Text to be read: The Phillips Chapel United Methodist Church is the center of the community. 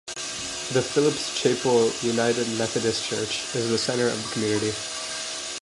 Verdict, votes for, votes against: rejected, 1, 2